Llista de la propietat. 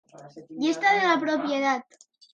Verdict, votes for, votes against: rejected, 0, 2